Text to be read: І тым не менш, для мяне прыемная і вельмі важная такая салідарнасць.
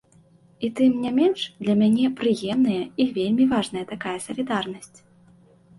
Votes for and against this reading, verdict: 2, 0, accepted